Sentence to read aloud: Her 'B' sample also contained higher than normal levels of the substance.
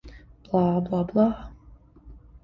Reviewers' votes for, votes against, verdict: 0, 2, rejected